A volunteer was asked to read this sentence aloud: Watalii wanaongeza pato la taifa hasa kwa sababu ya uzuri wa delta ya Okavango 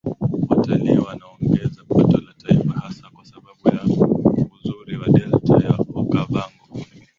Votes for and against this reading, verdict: 0, 2, rejected